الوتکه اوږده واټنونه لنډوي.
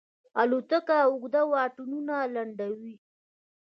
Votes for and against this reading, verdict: 2, 0, accepted